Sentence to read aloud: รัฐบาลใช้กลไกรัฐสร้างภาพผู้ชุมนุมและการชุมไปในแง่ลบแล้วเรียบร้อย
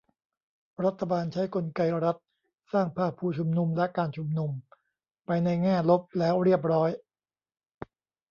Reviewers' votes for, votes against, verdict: 0, 2, rejected